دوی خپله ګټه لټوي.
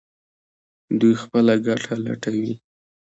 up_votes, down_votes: 2, 0